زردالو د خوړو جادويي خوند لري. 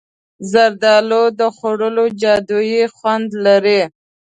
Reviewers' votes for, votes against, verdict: 2, 0, accepted